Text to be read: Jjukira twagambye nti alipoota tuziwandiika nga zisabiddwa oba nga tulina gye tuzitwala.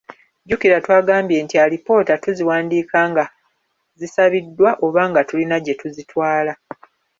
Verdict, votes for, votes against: accepted, 2, 0